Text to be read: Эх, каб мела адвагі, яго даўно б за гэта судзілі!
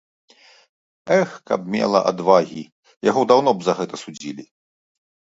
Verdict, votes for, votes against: accepted, 2, 0